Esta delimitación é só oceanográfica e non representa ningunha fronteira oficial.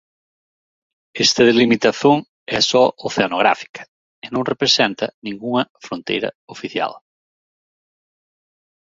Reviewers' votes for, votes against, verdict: 2, 0, accepted